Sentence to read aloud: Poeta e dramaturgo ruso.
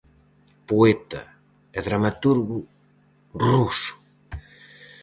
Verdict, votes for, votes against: accepted, 4, 0